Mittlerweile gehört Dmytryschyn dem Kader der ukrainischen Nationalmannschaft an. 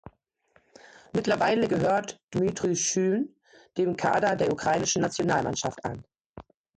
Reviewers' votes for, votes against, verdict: 3, 2, accepted